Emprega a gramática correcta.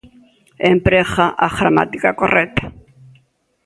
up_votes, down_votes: 3, 0